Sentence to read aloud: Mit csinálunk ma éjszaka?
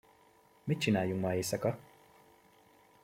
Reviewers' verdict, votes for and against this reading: rejected, 1, 2